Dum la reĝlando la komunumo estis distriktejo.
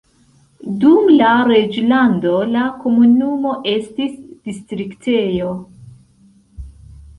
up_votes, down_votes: 2, 0